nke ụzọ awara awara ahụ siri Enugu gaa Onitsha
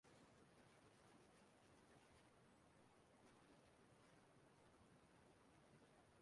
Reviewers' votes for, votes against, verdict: 0, 2, rejected